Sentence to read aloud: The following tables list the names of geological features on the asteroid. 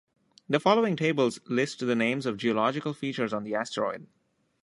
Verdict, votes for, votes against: accepted, 2, 0